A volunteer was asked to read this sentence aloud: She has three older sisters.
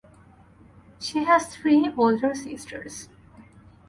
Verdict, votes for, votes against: accepted, 4, 0